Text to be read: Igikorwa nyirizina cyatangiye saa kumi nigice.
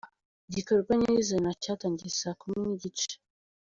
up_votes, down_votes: 2, 0